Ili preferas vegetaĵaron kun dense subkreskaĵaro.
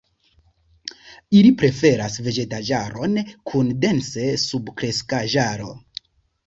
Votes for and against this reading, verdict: 2, 1, accepted